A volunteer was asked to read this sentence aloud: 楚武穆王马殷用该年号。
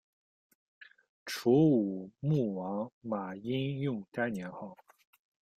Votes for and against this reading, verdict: 1, 2, rejected